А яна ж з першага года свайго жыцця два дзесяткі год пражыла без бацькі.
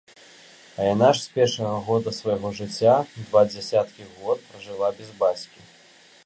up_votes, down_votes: 2, 0